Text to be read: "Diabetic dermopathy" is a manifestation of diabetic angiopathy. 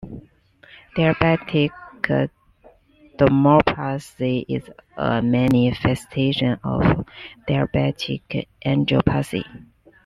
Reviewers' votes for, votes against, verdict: 2, 0, accepted